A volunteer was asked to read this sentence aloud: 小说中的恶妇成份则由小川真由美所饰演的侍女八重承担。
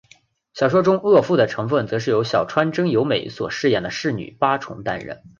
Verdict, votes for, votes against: accepted, 3, 0